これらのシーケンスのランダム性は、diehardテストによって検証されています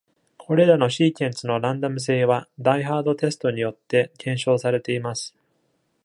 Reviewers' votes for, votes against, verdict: 2, 0, accepted